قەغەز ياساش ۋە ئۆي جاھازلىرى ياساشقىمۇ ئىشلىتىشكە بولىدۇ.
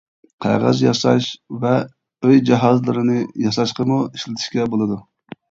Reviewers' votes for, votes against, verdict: 0, 2, rejected